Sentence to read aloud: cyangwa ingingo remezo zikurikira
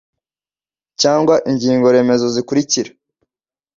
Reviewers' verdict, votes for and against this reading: accepted, 2, 0